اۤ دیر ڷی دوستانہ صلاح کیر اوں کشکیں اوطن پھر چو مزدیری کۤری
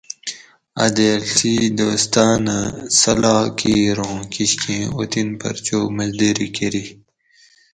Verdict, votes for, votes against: accepted, 4, 0